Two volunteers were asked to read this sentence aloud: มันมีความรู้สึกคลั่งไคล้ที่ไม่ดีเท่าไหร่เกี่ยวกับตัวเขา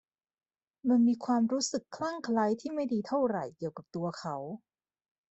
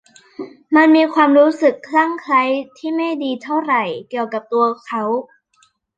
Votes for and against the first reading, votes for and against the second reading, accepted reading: 2, 0, 1, 2, first